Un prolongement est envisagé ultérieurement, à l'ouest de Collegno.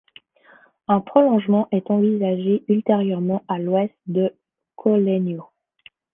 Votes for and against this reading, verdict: 1, 2, rejected